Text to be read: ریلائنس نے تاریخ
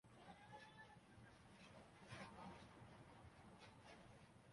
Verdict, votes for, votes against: rejected, 0, 2